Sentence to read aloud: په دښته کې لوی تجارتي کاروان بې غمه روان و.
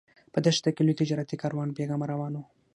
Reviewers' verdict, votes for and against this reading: rejected, 3, 6